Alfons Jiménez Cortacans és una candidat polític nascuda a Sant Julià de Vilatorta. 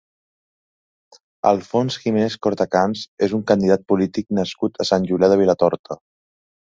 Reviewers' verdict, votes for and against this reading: rejected, 1, 2